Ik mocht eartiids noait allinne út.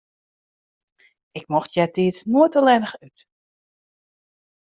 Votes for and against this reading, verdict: 0, 2, rejected